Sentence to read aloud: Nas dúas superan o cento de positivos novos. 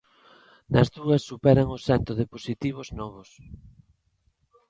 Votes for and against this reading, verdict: 2, 0, accepted